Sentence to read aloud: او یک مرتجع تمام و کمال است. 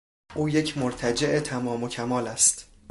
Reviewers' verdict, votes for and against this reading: accepted, 2, 0